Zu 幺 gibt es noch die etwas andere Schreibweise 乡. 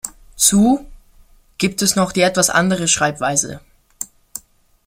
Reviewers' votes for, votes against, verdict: 2, 0, accepted